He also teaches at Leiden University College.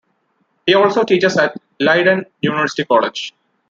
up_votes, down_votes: 2, 0